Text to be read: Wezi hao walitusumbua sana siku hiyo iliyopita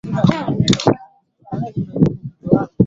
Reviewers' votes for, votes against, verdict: 0, 5, rejected